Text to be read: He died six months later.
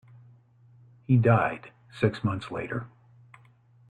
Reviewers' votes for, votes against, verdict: 2, 0, accepted